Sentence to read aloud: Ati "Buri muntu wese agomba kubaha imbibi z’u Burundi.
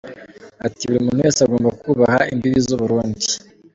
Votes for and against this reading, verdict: 2, 0, accepted